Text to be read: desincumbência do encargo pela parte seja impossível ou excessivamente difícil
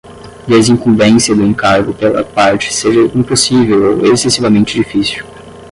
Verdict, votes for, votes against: accepted, 10, 0